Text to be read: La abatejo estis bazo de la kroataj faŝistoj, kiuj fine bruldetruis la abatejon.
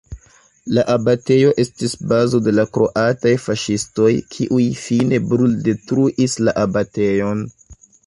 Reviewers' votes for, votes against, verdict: 2, 0, accepted